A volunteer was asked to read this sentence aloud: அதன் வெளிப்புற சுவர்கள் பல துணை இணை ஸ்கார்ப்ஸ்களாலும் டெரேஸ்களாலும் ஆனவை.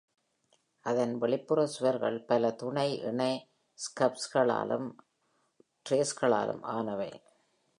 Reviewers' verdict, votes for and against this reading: rejected, 0, 2